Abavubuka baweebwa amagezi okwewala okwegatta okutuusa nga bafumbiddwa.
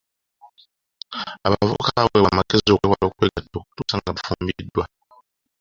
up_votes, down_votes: 2, 1